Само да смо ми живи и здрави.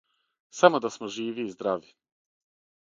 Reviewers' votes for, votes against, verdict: 6, 3, accepted